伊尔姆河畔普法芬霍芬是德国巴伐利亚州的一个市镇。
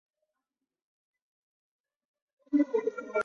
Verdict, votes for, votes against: rejected, 0, 4